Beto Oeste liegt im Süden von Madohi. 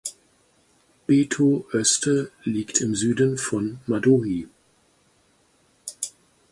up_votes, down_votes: 2, 4